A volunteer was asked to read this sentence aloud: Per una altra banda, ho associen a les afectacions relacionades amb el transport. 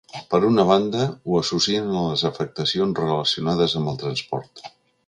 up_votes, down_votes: 0, 2